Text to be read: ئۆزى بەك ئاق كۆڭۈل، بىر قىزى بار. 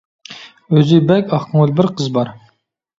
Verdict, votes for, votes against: rejected, 0, 2